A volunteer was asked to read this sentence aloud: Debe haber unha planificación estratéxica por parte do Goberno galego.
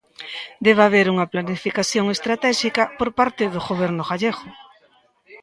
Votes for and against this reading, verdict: 0, 2, rejected